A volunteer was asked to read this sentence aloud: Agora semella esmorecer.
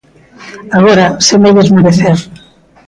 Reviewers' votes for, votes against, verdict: 0, 2, rejected